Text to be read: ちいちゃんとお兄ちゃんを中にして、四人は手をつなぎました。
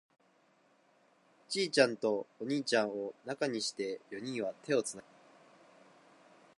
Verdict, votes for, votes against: rejected, 0, 2